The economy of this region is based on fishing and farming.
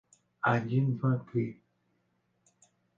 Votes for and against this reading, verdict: 0, 2, rejected